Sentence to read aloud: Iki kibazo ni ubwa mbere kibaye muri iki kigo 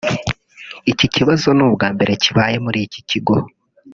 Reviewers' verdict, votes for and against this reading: rejected, 0, 2